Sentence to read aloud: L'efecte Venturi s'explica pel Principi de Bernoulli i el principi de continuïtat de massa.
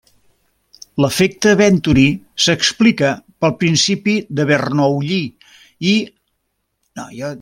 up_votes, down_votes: 0, 2